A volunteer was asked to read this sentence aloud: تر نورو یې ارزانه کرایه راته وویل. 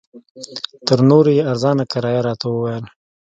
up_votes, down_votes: 2, 1